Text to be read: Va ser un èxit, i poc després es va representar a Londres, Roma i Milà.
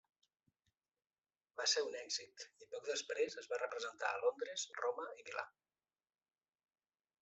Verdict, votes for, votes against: rejected, 1, 2